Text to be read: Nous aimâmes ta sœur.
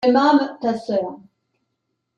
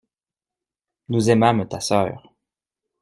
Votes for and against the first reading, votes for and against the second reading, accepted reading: 0, 2, 2, 0, second